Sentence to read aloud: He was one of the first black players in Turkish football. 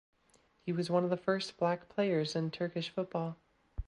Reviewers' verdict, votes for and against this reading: accepted, 2, 0